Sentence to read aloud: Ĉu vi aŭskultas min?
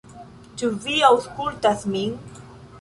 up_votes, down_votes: 2, 1